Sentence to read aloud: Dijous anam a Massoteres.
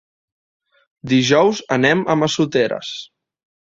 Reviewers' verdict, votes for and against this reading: rejected, 1, 2